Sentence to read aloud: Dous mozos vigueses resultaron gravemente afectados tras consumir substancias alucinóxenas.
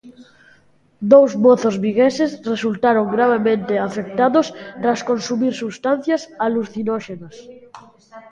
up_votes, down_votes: 0, 2